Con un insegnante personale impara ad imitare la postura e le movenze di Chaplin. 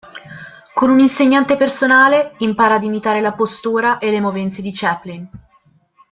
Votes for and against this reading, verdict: 2, 0, accepted